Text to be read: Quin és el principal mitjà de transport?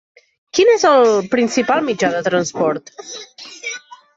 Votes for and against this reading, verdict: 3, 0, accepted